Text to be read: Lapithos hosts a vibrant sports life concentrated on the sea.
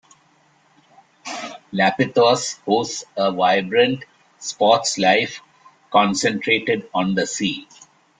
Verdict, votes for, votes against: rejected, 0, 2